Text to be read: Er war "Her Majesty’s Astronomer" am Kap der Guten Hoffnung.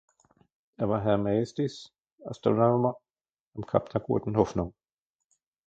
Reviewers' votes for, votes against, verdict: 0, 2, rejected